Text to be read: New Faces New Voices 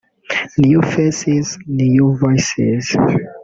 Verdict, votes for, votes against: rejected, 0, 2